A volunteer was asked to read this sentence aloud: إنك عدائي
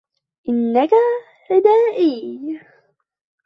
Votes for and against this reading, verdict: 0, 2, rejected